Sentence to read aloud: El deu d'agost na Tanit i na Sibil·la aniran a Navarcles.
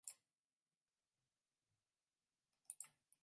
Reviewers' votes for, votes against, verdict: 1, 2, rejected